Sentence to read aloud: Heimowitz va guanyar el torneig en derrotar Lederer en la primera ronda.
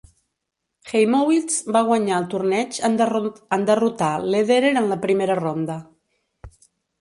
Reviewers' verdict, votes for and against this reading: rejected, 0, 2